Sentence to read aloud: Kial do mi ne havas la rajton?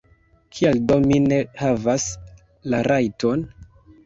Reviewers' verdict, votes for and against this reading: accepted, 2, 0